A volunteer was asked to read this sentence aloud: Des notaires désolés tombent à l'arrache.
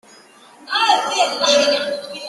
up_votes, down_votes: 0, 2